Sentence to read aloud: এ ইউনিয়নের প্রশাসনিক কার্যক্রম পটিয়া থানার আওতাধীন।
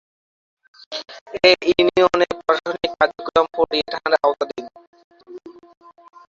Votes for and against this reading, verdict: 0, 2, rejected